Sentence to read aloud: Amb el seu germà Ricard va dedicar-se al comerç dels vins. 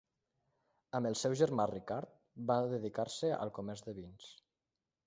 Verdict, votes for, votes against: rejected, 1, 2